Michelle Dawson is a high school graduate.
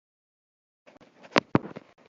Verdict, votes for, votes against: rejected, 0, 2